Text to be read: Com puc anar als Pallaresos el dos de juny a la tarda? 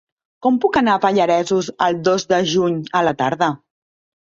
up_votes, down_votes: 0, 2